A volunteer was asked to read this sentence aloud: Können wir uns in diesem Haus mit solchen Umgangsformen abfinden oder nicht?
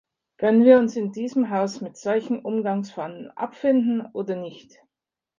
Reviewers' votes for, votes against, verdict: 2, 1, accepted